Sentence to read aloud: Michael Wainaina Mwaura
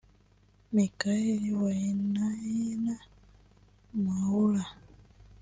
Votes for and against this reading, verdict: 1, 2, rejected